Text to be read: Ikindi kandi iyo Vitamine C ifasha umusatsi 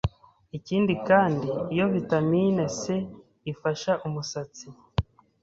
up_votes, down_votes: 2, 0